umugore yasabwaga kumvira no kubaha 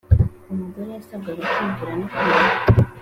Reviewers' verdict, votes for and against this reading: accepted, 3, 1